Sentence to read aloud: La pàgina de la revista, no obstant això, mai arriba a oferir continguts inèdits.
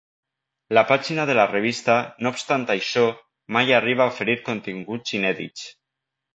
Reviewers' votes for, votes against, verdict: 2, 0, accepted